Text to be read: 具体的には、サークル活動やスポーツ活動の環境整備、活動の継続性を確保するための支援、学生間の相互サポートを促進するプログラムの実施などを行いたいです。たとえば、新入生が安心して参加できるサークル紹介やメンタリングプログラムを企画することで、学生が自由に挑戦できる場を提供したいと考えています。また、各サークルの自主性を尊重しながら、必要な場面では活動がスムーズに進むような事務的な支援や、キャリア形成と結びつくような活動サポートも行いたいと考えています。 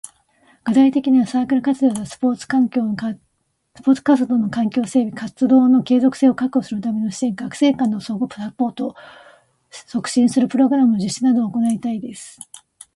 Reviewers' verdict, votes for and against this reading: rejected, 0, 2